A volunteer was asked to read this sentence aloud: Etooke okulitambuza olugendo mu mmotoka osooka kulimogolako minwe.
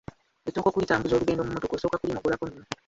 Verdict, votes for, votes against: accepted, 2, 1